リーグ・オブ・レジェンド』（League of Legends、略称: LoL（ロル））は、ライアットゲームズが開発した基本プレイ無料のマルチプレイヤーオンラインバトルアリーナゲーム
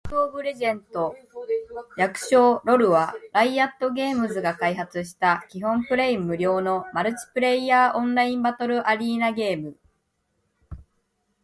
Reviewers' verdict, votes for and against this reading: accepted, 2, 0